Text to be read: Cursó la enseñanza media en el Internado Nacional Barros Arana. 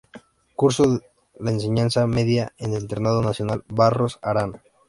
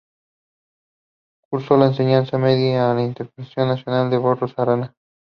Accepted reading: second